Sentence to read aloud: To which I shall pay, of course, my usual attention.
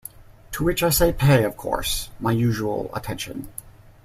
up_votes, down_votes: 1, 2